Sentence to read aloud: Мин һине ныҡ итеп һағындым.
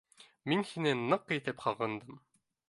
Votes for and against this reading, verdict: 2, 0, accepted